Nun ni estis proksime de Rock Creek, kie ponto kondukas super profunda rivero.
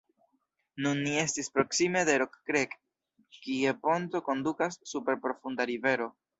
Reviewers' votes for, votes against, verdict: 0, 2, rejected